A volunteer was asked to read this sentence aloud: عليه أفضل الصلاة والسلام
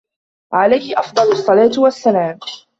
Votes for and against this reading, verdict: 2, 3, rejected